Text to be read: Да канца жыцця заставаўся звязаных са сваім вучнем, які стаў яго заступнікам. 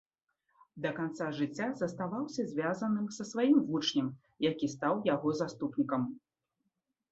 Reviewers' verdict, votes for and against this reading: accepted, 2, 0